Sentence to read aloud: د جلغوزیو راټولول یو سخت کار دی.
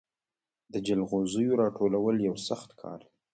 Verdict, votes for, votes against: rejected, 0, 2